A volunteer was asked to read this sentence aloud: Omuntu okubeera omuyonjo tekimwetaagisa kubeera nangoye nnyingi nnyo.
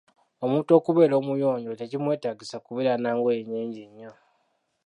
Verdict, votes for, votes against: accepted, 3, 0